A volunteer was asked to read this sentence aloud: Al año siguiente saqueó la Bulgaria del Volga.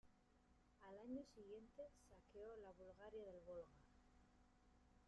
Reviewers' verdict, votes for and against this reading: rejected, 0, 2